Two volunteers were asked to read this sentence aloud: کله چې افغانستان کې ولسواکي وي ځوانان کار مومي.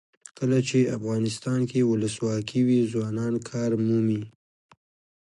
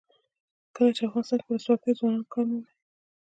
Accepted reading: first